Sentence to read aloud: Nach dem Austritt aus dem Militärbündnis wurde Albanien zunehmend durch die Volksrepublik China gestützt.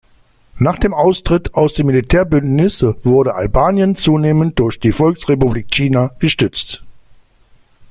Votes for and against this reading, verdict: 2, 0, accepted